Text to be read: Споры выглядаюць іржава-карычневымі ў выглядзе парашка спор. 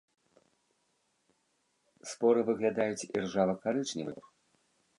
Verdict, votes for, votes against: rejected, 1, 2